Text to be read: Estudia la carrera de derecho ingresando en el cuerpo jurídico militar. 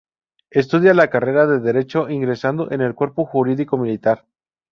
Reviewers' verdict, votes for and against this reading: rejected, 0, 2